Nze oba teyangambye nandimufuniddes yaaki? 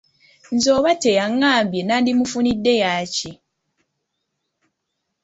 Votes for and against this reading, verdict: 2, 0, accepted